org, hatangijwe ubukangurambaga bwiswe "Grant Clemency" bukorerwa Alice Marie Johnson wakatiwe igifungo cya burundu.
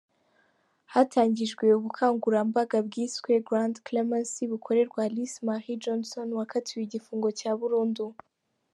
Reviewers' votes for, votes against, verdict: 1, 2, rejected